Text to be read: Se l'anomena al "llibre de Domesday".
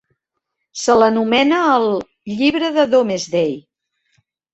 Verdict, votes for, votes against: accepted, 2, 0